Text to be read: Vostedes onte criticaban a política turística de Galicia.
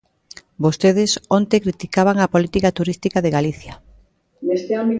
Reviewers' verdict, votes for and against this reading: rejected, 0, 2